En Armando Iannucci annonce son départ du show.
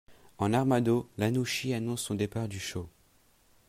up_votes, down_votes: 0, 2